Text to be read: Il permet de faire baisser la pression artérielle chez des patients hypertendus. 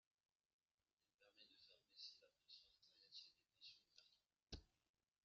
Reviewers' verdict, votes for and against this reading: rejected, 0, 2